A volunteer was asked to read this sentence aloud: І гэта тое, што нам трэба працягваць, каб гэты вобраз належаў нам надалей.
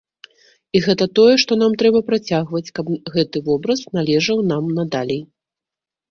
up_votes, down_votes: 2, 0